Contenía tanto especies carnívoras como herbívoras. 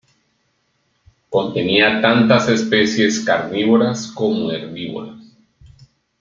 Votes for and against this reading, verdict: 0, 2, rejected